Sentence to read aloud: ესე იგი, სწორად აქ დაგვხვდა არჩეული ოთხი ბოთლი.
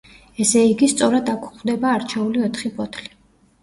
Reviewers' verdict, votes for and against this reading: rejected, 0, 2